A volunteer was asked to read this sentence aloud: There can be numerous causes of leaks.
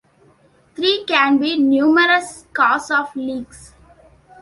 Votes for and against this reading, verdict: 0, 2, rejected